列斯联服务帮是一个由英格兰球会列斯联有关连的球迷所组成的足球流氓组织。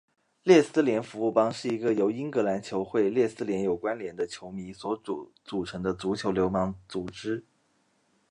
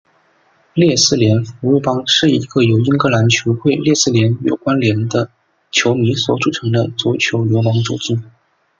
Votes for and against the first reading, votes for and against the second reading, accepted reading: 0, 2, 2, 0, second